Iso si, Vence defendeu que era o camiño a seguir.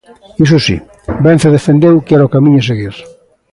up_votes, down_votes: 4, 0